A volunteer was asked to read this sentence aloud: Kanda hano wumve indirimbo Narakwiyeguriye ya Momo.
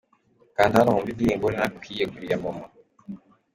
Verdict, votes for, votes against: accepted, 2, 0